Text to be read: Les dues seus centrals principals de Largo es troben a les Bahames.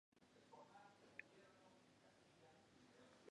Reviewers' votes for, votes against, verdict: 0, 2, rejected